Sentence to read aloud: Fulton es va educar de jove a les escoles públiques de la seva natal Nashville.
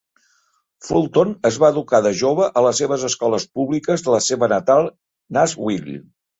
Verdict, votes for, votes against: rejected, 2, 3